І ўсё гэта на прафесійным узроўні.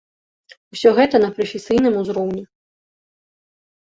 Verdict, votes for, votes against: rejected, 1, 2